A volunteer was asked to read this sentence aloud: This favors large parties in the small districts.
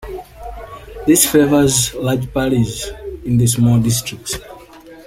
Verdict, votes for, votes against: accepted, 2, 0